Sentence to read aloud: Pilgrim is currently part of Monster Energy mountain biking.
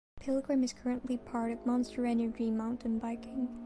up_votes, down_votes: 1, 2